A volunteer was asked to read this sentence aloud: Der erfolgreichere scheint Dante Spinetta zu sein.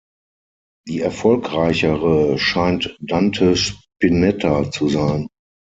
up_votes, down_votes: 0, 6